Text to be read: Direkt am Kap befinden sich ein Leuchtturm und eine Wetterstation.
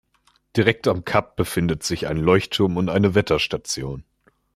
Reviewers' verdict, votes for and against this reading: rejected, 1, 2